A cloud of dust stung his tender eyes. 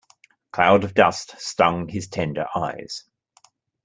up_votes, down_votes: 1, 2